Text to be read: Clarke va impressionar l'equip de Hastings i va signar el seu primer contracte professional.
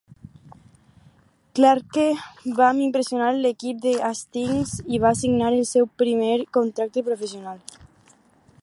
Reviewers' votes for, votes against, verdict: 2, 4, rejected